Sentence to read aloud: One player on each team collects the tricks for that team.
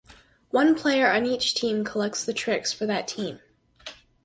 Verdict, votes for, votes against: accepted, 4, 0